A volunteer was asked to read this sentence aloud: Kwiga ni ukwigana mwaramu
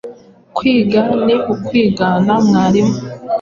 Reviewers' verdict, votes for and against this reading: accepted, 3, 2